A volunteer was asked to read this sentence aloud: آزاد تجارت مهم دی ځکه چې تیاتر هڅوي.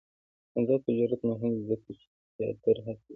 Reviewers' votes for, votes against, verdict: 2, 1, accepted